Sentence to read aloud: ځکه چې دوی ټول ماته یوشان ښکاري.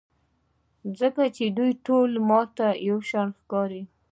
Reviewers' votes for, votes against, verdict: 0, 2, rejected